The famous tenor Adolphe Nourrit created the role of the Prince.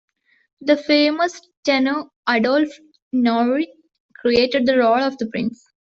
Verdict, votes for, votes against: accepted, 2, 0